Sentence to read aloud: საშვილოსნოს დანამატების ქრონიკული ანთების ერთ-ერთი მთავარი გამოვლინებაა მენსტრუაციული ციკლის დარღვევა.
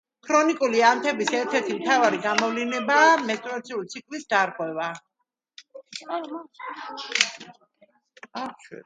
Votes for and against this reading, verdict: 0, 2, rejected